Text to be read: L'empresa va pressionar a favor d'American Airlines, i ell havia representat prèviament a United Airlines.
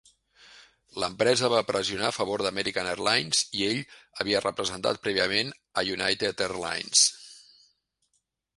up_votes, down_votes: 4, 0